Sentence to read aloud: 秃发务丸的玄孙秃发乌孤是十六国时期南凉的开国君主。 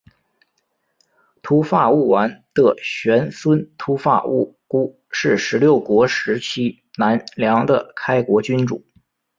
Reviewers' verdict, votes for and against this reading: accepted, 4, 0